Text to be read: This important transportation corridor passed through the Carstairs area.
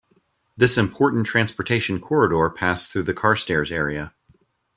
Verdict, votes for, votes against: accepted, 2, 0